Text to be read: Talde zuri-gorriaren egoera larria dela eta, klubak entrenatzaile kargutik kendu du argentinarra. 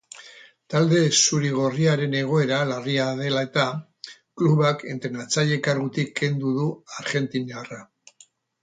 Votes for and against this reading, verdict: 2, 0, accepted